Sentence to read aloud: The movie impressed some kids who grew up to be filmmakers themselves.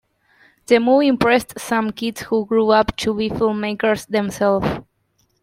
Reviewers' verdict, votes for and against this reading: rejected, 1, 2